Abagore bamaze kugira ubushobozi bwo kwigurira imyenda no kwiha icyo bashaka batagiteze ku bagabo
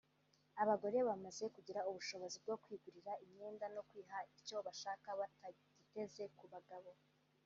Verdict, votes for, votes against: accepted, 2, 0